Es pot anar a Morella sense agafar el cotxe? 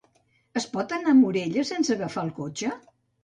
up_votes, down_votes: 4, 0